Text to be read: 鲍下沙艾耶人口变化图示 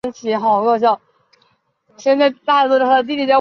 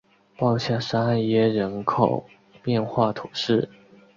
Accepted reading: second